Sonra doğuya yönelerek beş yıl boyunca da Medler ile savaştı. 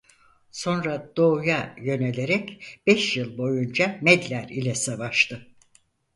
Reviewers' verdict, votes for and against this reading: rejected, 0, 4